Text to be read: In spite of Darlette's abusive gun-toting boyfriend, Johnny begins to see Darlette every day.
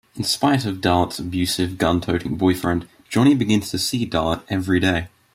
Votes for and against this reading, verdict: 2, 0, accepted